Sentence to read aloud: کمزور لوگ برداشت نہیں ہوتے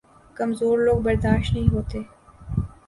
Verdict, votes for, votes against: accepted, 2, 0